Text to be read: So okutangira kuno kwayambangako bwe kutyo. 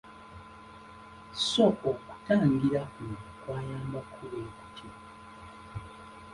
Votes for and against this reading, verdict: 1, 2, rejected